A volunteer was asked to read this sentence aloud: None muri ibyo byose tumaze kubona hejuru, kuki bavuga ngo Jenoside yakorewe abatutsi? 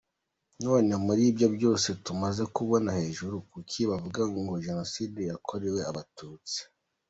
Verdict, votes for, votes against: accepted, 2, 1